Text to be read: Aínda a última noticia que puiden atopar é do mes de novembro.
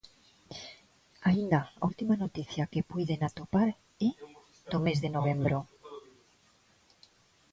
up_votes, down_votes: 1, 2